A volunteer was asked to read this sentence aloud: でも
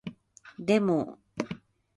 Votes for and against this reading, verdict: 2, 2, rejected